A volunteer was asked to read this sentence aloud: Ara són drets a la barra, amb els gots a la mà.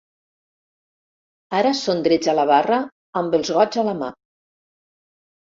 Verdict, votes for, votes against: accepted, 4, 0